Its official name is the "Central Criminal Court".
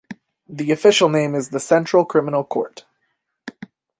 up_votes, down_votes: 0, 2